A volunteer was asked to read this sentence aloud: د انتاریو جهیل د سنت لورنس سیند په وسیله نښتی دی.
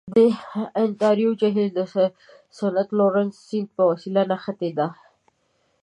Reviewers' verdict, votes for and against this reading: rejected, 1, 2